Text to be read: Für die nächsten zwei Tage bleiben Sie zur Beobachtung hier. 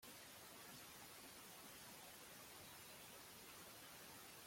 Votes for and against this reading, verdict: 0, 2, rejected